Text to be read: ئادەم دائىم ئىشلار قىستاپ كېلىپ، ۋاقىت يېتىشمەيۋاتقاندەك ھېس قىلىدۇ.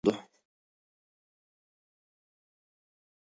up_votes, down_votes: 0, 2